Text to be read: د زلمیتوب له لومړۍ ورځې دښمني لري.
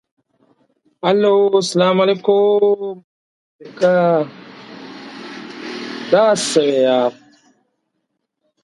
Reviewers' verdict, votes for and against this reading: rejected, 0, 2